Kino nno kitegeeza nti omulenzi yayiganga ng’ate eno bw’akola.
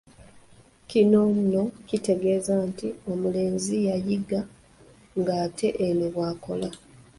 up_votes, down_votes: 0, 2